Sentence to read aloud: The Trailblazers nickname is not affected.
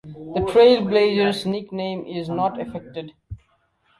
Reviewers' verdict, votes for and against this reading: accepted, 2, 0